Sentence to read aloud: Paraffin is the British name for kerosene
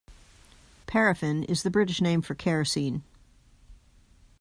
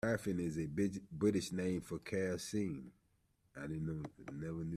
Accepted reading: first